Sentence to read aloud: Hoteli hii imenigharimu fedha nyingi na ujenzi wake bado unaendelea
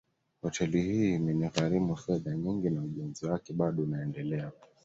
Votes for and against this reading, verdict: 2, 0, accepted